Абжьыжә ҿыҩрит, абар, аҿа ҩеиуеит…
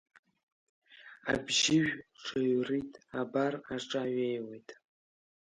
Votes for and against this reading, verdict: 1, 2, rejected